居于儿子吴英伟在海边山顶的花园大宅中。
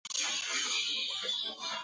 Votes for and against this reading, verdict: 0, 2, rejected